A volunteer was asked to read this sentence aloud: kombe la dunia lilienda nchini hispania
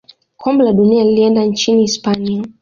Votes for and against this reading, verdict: 2, 0, accepted